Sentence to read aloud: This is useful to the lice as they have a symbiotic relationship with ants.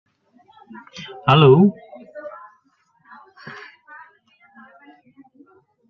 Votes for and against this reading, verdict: 0, 2, rejected